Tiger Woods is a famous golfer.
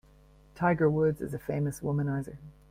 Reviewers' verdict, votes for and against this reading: rejected, 0, 2